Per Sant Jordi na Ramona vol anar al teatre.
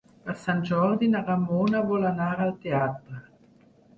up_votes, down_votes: 4, 0